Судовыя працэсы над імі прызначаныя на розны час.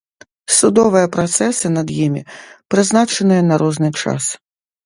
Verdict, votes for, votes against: accepted, 2, 0